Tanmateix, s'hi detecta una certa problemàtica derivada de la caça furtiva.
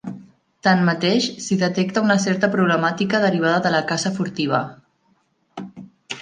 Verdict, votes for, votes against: accepted, 2, 0